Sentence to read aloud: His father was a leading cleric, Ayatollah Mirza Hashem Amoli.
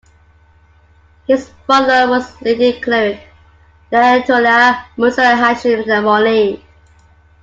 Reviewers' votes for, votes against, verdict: 2, 1, accepted